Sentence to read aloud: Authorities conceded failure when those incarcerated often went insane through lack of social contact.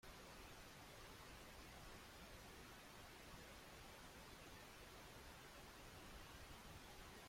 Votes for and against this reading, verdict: 0, 2, rejected